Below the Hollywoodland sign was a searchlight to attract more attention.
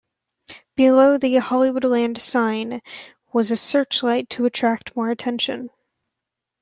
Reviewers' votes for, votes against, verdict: 2, 0, accepted